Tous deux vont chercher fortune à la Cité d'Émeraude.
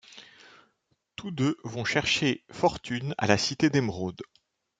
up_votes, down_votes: 0, 2